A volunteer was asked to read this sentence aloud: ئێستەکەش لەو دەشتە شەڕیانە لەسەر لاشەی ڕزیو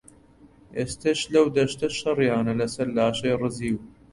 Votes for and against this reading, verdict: 0, 2, rejected